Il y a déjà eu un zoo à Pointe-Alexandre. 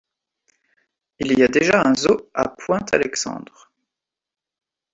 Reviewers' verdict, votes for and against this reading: rejected, 0, 2